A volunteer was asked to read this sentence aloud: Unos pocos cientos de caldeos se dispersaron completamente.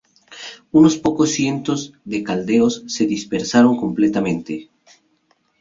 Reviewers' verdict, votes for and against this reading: accepted, 2, 0